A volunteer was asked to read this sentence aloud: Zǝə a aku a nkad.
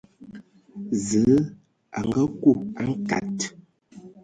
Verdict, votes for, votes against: accepted, 3, 0